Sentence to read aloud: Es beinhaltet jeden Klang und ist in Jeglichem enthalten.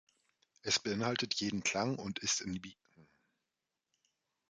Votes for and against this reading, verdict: 0, 2, rejected